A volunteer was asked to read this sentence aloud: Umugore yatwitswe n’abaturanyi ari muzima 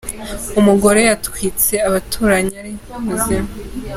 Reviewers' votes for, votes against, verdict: 1, 2, rejected